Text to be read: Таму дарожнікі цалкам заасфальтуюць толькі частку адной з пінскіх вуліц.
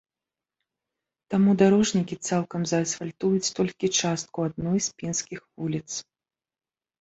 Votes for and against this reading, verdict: 0, 2, rejected